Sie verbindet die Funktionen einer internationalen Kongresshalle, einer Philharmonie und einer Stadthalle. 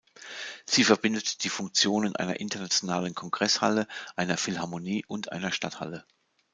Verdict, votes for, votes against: accepted, 2, 1